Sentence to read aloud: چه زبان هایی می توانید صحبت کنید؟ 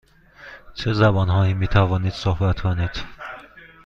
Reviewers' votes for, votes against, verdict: 2, 0, accepted